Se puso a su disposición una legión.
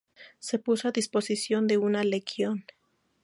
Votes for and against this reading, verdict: 0, 4, rejected